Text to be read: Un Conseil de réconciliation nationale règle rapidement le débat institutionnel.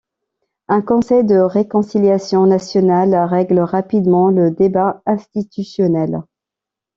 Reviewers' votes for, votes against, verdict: 2, 0, accepted